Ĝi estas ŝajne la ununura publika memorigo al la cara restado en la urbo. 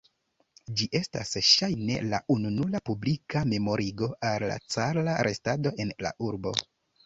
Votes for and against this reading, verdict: 0, 3, rejected